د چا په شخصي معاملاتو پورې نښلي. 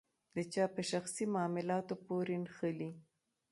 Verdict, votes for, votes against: rejected, 0, 2